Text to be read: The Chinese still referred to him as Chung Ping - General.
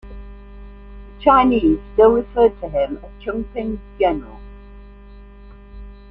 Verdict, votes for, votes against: rejected, 0, 2